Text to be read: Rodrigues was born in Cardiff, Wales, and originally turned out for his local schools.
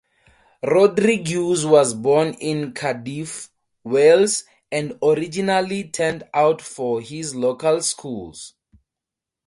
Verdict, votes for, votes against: rejected, 6, 12